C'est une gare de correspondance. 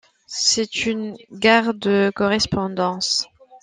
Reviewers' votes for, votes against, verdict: 2, 0, accepted